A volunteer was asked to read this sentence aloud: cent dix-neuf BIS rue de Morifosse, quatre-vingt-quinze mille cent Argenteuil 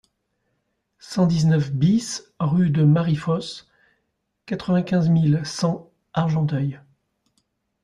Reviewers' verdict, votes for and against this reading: rejected, 0, 2